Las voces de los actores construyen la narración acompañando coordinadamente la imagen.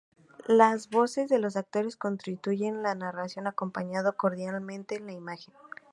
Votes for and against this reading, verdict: 0, 2, rejected